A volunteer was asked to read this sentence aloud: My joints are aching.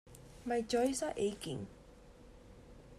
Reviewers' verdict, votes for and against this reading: rejected, 0, 2